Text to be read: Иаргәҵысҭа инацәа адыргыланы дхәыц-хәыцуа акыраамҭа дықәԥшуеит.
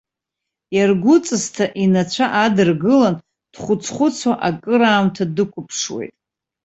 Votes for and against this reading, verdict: 2, 1, accepted